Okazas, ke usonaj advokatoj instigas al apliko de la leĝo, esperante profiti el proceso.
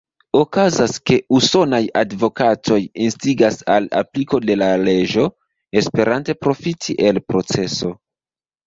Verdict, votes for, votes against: rejected, 1, 2